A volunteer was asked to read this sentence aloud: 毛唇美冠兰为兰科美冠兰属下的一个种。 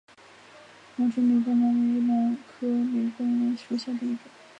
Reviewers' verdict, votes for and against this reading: rejected, 0, 2